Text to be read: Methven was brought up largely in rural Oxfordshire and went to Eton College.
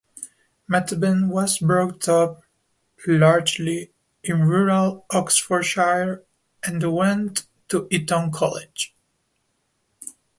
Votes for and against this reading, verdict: 2, 0, accepted